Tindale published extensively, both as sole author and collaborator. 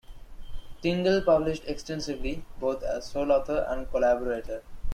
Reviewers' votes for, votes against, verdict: 2, 0, accepted